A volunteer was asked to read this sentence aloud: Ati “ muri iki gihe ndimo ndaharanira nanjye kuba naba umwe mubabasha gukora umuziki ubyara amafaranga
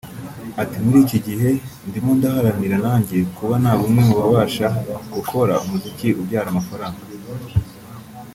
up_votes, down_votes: 2, 0